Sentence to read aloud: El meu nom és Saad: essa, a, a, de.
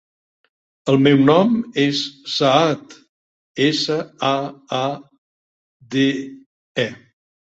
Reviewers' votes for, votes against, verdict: 0, 3, rejected